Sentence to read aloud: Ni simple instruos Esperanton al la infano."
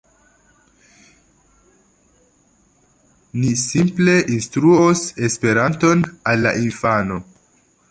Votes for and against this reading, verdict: 2, 0, accepted